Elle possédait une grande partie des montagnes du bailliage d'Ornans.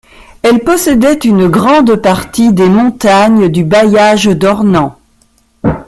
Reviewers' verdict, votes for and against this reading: accepted, 2, 0